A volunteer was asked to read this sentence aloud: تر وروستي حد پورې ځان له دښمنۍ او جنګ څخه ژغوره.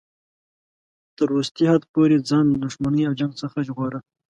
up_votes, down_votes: 2, 0